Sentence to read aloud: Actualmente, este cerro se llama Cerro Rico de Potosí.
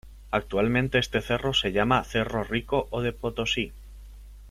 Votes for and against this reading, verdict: 0, 2, rejected